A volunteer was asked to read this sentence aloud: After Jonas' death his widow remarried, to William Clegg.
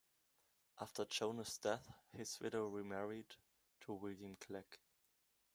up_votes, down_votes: 0, 2